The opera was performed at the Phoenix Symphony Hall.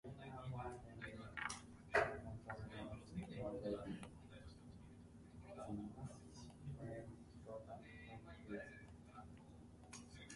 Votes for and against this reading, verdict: 0, 2, rejected